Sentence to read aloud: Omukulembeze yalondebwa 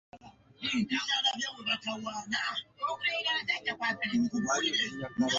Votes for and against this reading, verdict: 0, 2, rejected